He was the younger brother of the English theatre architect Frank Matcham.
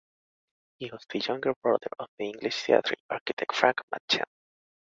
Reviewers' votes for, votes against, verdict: 2, 0, accepted